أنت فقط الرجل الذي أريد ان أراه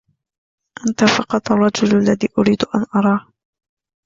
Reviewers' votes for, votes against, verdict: 0, 2, rejected